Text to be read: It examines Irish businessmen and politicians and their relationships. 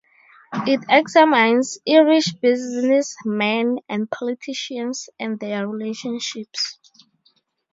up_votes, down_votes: 2, 2